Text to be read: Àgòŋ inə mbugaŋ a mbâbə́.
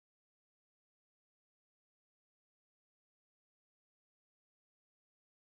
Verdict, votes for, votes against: rejected, 0, 2